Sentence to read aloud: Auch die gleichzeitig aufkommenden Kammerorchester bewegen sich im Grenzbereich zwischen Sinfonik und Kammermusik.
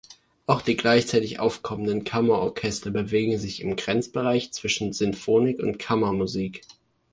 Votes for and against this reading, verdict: 2, 0, accepted